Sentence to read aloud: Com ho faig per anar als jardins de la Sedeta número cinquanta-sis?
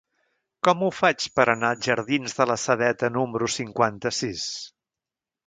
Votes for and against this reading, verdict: 1, 2, rejected